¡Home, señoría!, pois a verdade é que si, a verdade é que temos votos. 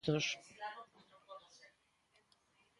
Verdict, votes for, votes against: rejected, 0, 3